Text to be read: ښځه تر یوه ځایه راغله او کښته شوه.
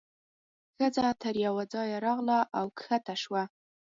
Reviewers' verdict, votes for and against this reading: accepted, 4, 0